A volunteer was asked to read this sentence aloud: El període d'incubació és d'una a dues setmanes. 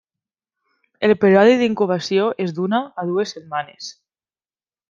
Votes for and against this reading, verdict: 1, 2, rejected